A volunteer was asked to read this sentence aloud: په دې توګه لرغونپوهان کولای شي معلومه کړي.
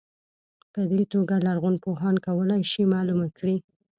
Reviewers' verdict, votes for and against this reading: accepted, 3, 0